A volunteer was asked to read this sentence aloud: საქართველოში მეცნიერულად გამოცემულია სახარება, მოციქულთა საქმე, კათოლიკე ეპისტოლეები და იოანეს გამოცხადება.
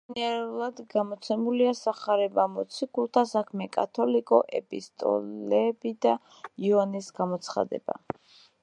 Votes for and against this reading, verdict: 0, 2, rejected